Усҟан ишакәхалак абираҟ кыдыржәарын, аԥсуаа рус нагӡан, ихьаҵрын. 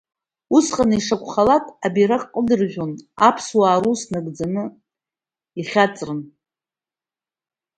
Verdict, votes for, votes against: accepted, 3, 0